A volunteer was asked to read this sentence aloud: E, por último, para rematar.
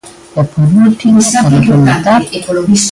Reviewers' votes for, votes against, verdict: 0, 2, rejected